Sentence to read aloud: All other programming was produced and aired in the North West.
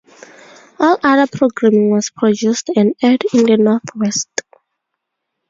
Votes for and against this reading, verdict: 2, 0, accepted